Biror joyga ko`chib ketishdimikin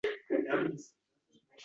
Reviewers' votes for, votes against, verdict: 0, 2, rejected